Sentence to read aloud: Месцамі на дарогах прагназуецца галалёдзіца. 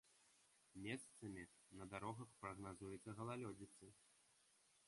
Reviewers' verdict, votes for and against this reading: accepted, 2, 0